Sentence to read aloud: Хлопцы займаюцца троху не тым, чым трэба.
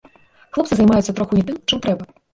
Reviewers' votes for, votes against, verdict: 0, 2, rejected